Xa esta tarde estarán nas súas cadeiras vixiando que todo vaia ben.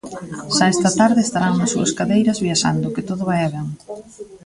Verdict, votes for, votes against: rejected, 0, 2